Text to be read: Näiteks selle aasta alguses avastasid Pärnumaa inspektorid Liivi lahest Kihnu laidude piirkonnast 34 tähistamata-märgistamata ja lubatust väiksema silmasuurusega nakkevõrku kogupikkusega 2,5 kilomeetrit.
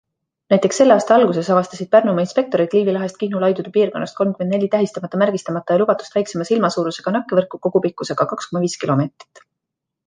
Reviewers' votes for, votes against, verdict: 0, 2, rejected